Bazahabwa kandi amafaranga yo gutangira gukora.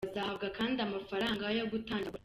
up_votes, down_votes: 0, 2